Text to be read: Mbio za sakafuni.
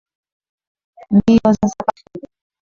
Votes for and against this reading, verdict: 3, 10, rejected